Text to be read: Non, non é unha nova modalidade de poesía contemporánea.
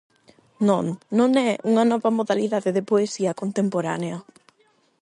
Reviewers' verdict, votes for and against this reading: accepted, 8, 0